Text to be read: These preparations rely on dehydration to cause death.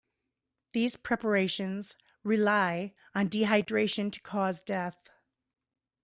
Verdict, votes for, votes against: rejected, 1, 2